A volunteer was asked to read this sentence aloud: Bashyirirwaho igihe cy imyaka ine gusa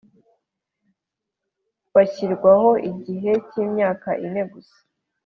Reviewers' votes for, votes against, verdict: 2, 1, accepted